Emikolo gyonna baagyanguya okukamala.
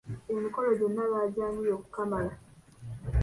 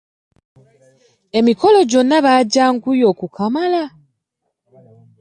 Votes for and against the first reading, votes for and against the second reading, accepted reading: 0, 2, 2, 1, second